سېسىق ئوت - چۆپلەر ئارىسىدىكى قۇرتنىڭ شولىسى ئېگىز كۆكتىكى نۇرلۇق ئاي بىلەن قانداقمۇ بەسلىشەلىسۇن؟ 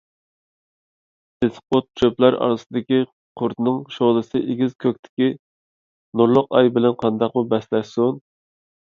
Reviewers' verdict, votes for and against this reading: rejected, 1, 2